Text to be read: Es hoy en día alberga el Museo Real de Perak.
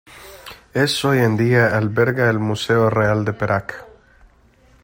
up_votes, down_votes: 2, 0